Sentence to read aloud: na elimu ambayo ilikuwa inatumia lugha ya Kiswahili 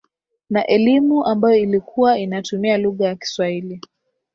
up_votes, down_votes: 1, 2